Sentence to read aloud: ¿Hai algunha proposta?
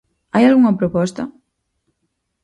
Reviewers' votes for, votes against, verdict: 4, 0, accepted